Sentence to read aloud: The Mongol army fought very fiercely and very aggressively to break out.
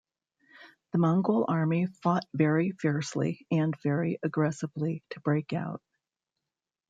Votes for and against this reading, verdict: 1, 2, rejected